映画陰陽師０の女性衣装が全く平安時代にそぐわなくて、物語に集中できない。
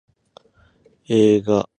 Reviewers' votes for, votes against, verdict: 0, 2, rejected